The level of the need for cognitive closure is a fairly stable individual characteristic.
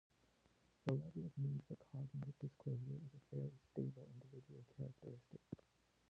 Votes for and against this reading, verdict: 0, 2, rejected